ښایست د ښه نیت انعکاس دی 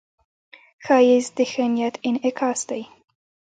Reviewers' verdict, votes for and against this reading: accepted, 3, 0